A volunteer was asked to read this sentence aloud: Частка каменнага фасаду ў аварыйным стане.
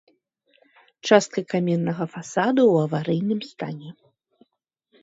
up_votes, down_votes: 2, 0